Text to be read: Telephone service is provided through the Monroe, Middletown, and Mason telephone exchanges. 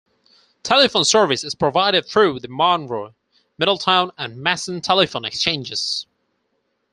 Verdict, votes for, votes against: rejected, 0, 4